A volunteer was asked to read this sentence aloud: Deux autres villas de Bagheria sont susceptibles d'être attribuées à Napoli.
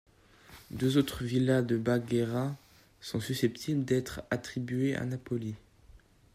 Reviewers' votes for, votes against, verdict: 1, 2, rejected